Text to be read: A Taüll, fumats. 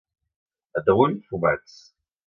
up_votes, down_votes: 2, 0